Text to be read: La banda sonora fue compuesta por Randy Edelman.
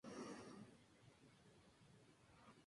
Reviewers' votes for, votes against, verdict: 0, 4, rejected